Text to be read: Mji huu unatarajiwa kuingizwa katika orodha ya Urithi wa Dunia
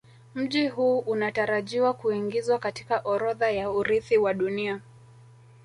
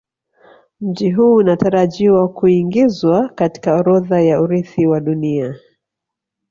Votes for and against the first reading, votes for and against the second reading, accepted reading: 0, 2, 2, 0, second